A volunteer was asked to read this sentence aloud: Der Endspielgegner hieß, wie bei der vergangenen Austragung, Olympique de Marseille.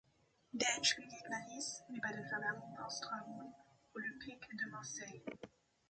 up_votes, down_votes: 1, 2